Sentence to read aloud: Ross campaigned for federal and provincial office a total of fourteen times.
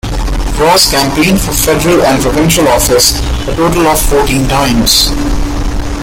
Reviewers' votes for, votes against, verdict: 2, 0, accepted